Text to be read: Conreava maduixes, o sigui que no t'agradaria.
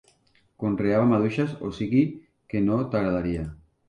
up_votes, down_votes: 3, 0